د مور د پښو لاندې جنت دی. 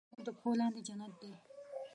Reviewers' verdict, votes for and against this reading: rejected, 1, 2